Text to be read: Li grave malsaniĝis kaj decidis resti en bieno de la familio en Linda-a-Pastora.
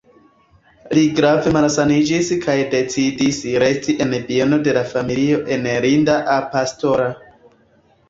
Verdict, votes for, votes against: accepted, 2, 0